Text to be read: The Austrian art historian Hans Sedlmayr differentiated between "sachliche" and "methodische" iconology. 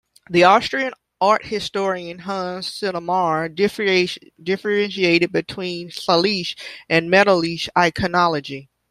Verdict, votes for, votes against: rejected, 0, 2